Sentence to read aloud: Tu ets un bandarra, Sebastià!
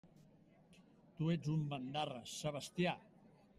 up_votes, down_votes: 3, 0